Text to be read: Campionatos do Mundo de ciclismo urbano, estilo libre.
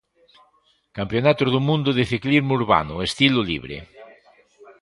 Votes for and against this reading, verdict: 0, 2, rejected